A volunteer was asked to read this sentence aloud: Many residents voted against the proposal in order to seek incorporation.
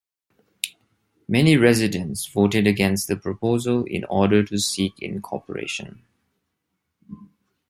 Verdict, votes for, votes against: accepted, 2, 0